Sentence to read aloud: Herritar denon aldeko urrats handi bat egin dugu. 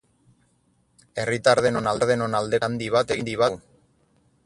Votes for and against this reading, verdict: 2, 6, rejected